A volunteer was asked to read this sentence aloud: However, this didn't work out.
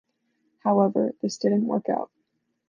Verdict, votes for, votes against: accepted, 2, 0